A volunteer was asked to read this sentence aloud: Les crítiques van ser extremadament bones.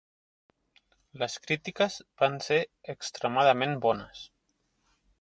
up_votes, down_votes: 2, 0